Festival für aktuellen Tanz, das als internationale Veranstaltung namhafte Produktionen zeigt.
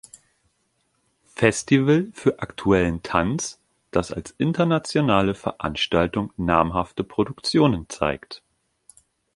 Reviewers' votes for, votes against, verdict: 2, 0, accepted